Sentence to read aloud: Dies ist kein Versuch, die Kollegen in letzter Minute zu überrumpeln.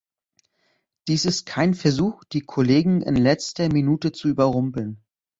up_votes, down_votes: 2, 0